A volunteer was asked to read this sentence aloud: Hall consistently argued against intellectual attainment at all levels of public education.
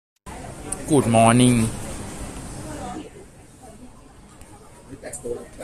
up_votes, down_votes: 0, 2